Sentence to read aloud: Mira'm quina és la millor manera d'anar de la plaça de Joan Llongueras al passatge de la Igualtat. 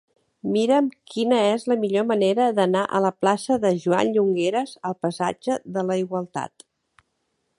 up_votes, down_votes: 1, 3